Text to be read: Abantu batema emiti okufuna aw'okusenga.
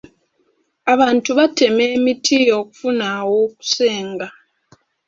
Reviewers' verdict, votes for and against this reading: accepted, 2, 0